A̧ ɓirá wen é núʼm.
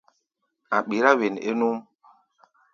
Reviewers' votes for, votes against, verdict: 2, 0, accepted